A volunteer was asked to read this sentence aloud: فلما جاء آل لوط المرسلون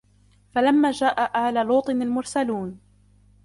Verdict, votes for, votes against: accepted, 3, 2